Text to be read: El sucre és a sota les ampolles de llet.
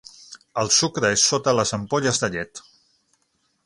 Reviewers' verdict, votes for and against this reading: rejected, 0, 6